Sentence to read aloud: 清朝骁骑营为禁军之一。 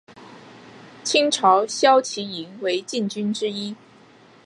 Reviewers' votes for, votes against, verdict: 4, 0, accepted